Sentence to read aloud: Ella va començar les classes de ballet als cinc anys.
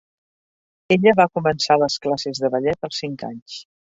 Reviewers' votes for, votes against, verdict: 3, 0, accepted